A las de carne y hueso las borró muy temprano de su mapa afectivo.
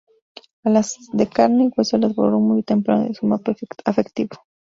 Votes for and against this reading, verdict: 2, 2, rejected